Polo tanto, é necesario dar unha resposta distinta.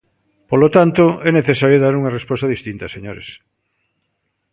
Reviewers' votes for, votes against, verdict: 0, 2, rejected